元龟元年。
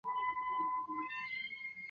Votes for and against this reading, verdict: 1, 3, rejected